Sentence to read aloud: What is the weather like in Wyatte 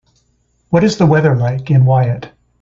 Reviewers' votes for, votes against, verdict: 2, 0, accepted